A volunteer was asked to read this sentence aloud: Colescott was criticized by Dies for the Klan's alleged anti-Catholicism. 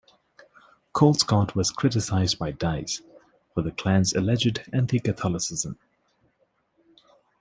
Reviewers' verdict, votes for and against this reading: accepted, 2, 0